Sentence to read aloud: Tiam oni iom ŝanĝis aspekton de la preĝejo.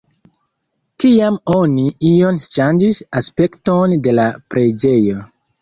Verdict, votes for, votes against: accepted, 3, 0